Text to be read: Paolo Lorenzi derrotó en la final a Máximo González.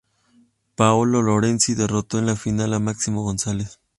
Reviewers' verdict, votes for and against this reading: accepted, 2, 0